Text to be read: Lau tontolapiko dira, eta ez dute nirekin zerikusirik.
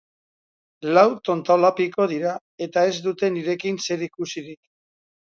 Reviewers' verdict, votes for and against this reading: accepted, 4, 0